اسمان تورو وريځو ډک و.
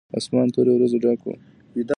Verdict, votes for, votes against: accepted, 2, 1